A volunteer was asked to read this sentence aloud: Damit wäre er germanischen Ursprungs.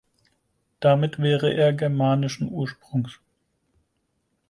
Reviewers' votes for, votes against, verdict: 4, 0, accepted